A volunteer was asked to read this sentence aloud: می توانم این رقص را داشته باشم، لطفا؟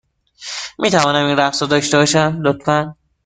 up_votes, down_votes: 1, 2